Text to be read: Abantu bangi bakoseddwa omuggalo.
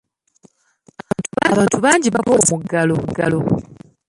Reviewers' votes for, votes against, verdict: 1, 2, rejected